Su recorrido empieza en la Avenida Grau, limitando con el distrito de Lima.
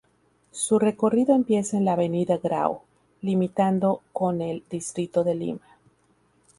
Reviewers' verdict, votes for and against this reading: accepted, 2, 0